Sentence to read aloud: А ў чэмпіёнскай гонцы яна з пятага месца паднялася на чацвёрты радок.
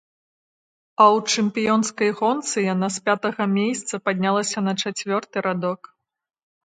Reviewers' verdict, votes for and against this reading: rejected, 1, 2